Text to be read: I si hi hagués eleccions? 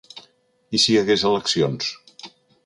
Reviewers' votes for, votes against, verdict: 4, 0, accepted